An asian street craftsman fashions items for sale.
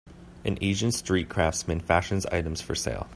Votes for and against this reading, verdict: 2, 0, accepted